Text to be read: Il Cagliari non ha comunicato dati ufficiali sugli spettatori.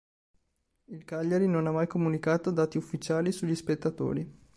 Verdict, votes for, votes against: rejected, 1, 2